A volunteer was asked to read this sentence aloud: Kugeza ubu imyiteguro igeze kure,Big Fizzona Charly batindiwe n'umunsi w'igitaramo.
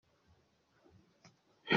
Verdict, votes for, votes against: rejected, 0, 2